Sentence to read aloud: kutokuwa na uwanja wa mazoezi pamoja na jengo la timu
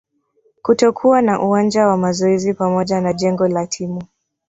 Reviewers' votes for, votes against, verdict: 4, 1, accepted